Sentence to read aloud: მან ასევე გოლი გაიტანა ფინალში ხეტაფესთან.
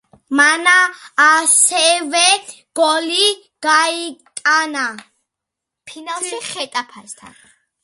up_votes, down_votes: 2, 0